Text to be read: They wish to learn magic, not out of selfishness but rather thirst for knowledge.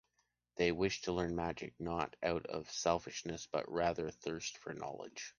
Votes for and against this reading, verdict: 2, 0, accepted